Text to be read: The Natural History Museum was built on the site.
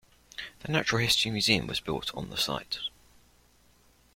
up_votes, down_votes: 3, 0